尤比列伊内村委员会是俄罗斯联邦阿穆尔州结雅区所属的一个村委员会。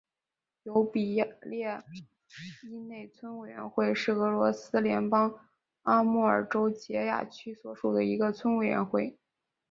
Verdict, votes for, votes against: rejected, 0, 2